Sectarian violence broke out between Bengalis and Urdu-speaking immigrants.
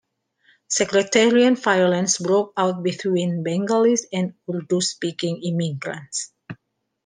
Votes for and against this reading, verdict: 2, 1, accepted